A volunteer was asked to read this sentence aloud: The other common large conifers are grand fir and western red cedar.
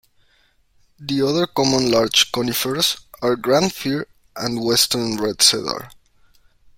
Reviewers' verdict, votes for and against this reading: accepted, 2, 1